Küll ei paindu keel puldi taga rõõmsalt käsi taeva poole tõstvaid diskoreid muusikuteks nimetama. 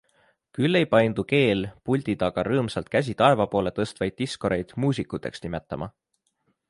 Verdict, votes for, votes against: accepted, 2, 0